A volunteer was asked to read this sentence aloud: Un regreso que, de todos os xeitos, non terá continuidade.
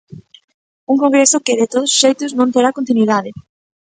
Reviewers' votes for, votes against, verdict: 1, 2, rejected